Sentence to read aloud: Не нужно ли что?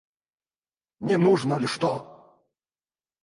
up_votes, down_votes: 0, 2